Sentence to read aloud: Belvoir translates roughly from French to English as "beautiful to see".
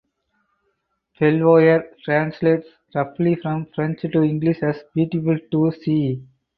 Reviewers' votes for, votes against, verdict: 4, 2, accepted